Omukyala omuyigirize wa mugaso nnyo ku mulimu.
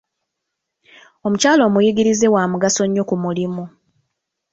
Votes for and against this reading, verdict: 1, 2, rejected